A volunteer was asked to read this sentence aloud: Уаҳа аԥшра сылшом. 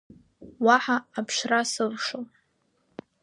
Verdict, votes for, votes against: rejected, 0, 2